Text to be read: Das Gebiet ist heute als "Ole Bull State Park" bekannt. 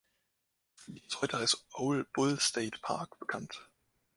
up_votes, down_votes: 0, 2